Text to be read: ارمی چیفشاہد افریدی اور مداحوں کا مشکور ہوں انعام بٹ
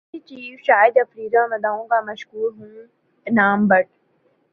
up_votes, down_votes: 3, 1